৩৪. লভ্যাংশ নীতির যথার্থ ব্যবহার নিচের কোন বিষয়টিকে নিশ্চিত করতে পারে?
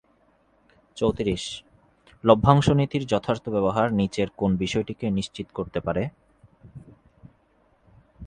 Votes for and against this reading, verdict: 0, 2, rejected